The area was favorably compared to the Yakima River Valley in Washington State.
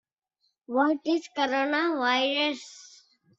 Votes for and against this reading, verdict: 0, 2, rejected